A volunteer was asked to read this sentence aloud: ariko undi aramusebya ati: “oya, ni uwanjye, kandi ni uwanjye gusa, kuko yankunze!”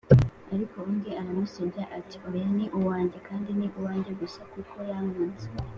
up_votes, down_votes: 2, 0